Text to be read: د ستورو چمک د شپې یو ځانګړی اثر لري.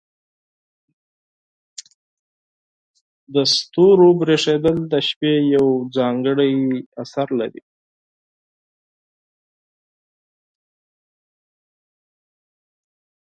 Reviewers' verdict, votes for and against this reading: accepted, 4, 2